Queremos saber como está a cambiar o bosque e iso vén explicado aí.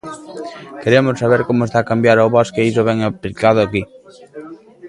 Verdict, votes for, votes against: rejected, 0, 2